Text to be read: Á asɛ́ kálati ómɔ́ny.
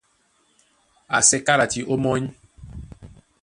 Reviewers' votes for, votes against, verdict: 1, 2, rejected